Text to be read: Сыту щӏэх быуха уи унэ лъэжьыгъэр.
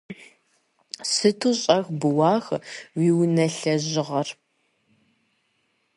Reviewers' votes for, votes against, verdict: 1, 2, rejected